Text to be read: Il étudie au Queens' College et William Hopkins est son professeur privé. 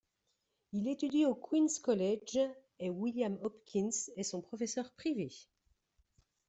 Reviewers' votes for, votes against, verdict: 2, 0, accepted